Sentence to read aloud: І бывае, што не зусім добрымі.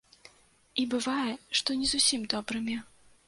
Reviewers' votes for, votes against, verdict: 2, 0, accepted